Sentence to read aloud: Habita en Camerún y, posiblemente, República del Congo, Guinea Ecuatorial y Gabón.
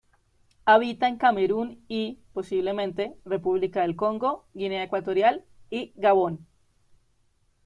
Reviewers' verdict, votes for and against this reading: accepted, 2, 1